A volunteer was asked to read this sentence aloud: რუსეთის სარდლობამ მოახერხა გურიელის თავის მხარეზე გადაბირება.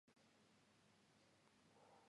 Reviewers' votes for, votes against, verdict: 0, 2, rejected